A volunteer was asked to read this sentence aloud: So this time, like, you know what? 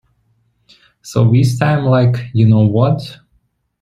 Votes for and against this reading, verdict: 2, 0, accepted